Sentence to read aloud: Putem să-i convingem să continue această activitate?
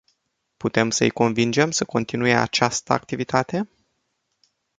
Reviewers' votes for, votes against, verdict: 2, 0, accepted